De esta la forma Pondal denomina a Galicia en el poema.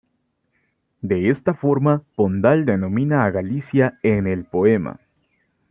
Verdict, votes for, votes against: accepted, 2, 0